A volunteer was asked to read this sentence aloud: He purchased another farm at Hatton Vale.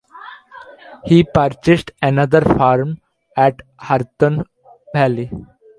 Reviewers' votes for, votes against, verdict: 1, 2, rejected